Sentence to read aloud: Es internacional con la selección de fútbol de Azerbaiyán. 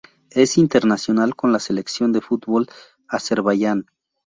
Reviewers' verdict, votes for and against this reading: rejected, 2, 4